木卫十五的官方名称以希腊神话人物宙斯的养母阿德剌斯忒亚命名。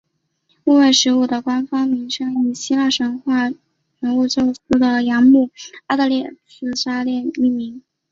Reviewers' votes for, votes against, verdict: 5, 1, accepted